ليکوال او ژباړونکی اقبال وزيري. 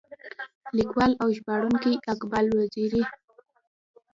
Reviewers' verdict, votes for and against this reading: rejected, 1, 2